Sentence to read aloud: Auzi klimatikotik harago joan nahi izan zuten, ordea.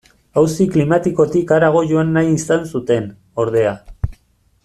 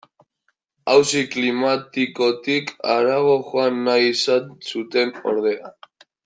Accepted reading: first